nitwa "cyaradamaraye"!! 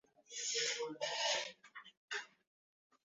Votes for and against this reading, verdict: 0, 2, rejected